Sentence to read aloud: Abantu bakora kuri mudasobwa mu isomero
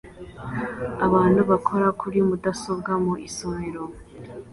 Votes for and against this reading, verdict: 2, 0, accepted